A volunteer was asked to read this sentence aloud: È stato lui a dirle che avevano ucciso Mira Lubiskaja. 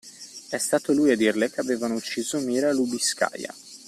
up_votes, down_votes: 2, 1